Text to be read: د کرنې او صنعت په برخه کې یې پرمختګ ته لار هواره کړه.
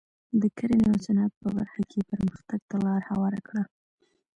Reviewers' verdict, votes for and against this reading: accepted, 2, 0